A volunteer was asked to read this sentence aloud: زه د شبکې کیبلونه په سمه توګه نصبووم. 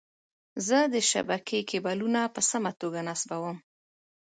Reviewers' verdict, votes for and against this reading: accepted, 2, 0